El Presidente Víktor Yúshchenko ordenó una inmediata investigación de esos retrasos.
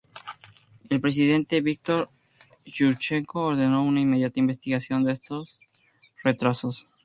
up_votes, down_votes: 2, 0